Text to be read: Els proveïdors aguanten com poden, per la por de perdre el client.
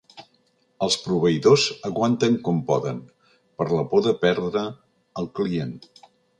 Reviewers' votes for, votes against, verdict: 3, 0, accepted